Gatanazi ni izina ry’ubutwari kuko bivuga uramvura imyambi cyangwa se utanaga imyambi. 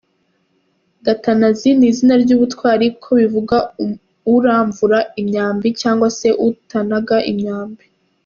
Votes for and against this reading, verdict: 2, 0, accepted